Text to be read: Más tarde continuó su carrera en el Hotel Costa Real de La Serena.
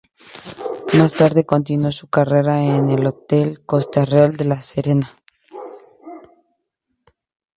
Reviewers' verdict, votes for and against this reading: accepted, 2, 0